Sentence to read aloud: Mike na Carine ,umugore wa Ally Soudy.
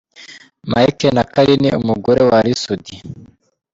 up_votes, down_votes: 2, 1